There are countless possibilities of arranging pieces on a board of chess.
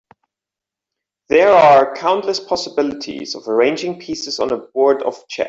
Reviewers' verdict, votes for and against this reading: rejected, 0, 2